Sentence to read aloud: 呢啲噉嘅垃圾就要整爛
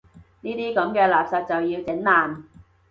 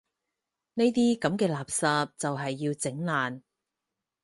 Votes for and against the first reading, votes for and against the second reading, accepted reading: 2, 0, 2, 4, first